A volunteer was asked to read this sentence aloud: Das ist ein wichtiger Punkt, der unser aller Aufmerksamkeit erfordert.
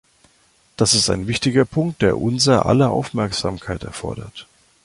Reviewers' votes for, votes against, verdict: 2, 0, accepted